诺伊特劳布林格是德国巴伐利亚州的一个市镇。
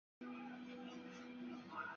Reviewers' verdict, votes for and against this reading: rejected, 0, 2